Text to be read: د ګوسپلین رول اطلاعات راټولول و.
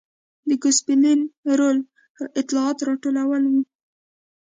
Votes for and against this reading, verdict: 3, 0, accepted